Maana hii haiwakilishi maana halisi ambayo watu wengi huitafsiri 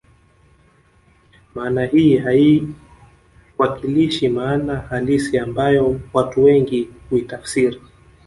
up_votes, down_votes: 0, 2